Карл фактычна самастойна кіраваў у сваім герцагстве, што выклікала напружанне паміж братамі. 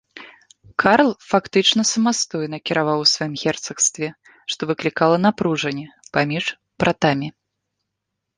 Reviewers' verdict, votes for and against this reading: accepted, 2, 0